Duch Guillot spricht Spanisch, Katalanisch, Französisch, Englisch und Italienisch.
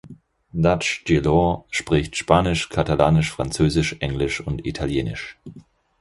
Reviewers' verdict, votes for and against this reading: accepted, 4, 0